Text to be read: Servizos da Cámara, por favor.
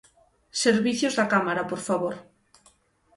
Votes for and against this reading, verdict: 0, 6, rejected